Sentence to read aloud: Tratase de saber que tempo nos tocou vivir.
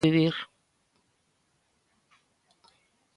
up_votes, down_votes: 0, 2